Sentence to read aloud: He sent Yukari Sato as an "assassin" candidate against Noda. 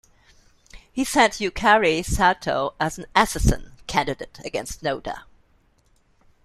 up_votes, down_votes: 2, 0